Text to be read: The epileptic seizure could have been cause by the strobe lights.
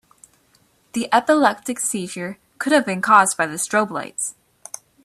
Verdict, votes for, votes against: rejected, 1, 2